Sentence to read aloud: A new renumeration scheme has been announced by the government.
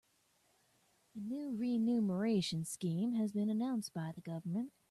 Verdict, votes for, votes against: accepted, 2, 0